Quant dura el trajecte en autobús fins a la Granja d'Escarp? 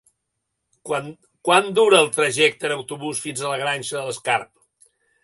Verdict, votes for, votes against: rejected, 1, 2